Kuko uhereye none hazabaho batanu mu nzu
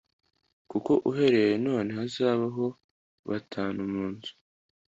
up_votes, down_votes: 2, 0